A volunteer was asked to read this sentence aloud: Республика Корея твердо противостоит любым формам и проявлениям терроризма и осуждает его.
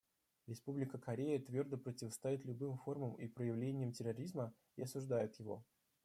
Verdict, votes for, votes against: rejected, 0, 2